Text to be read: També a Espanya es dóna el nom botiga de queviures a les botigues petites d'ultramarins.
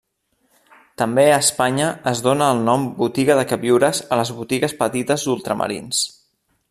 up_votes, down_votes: 2, 0